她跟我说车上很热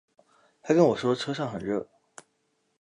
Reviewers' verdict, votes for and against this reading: accepted, 3, 0